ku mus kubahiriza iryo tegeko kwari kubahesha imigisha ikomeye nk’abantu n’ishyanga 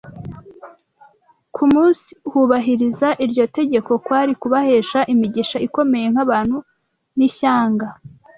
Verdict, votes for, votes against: rejected, 0, 2